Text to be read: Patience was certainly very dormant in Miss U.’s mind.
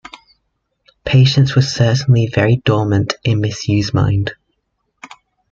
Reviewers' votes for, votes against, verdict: 2, 0, accepted